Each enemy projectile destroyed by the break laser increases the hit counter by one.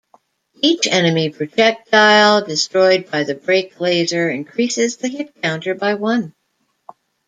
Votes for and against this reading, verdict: 1, 2, rejected